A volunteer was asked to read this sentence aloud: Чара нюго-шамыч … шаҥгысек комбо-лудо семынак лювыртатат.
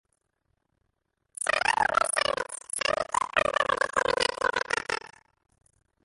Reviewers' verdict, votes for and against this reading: rejected, 0, 2